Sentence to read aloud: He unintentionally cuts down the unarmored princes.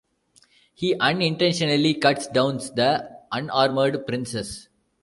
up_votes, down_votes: 0, 2